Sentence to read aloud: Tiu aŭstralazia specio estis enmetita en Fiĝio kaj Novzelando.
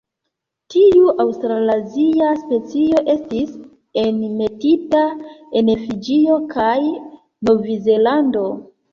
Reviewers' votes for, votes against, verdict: 2, 0, accepted